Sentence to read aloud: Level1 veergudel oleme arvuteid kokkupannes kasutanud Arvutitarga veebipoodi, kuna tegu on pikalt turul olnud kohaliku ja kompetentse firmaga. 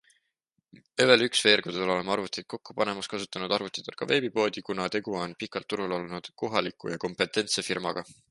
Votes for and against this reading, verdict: 0, 2, rejected